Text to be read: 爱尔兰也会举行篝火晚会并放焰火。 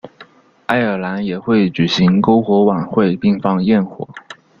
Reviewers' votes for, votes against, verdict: 1, 2, rejected